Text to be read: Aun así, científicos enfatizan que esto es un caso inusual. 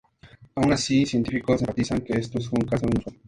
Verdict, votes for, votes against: accepted, 2, 0